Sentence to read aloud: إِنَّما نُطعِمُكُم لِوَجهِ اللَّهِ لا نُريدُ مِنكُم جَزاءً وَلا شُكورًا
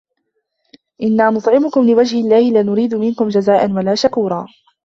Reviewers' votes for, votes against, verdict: 1, 2, rejected